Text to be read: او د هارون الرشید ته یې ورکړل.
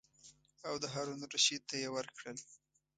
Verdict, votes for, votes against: accepted, 2, 0